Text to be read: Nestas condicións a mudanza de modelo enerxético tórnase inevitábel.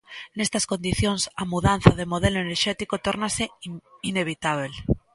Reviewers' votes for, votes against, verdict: 0, 2, rejected